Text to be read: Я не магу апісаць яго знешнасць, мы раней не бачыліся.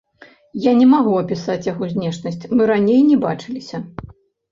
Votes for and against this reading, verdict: 0, 2, rejected